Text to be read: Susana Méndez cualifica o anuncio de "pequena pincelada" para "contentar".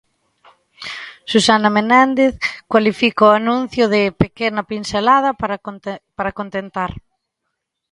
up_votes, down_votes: 0, 2